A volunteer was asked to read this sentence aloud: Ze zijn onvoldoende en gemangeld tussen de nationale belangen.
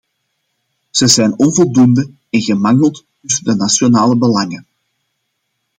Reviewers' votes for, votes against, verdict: 1, 2, rejected